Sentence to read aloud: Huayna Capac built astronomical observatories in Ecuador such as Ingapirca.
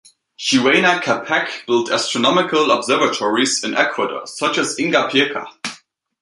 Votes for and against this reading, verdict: 2, 0, accepted